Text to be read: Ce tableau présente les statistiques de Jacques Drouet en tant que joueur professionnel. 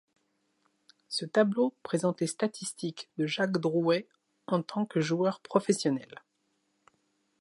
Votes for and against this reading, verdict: 2, 0, accepted